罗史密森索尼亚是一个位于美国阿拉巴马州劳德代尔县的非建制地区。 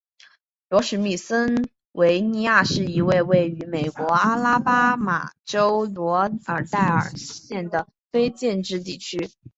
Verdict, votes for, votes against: rejected, 0, 3